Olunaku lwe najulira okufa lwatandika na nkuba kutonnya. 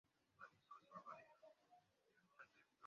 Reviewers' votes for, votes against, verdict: 0, 2, rejected